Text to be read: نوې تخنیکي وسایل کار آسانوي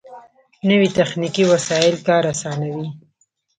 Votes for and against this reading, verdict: 2, 0, accepted